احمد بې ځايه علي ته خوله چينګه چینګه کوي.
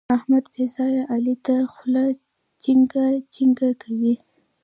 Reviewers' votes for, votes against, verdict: 2, 0, accepted